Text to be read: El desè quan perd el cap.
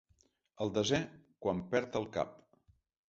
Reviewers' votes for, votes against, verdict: 2, 0, accepted